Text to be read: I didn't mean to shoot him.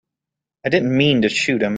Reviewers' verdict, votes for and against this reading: accepted, 3, 0